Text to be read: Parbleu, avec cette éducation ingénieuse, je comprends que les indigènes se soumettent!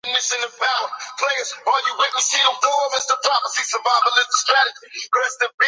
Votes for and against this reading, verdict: 0, 2, rejected